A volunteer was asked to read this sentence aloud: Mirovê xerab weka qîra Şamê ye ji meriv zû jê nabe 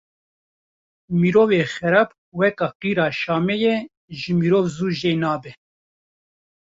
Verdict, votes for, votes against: accepted, 2, 1